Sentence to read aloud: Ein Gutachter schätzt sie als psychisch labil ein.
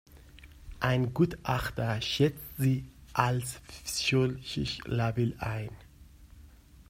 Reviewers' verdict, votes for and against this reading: rejected, 1, 2